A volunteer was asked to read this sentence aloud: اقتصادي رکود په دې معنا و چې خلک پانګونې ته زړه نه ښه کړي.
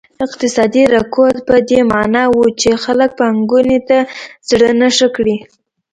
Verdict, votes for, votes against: accepted, 2, 0